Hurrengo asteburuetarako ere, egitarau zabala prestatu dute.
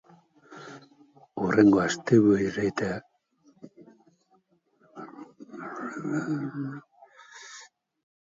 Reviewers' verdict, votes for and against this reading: rejected, 0, 4